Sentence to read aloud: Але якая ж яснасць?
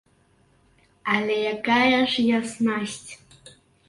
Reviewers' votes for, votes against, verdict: 2, 1, accepted